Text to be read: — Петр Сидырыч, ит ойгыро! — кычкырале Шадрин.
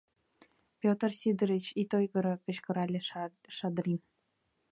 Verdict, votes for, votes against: rejected, 0, 2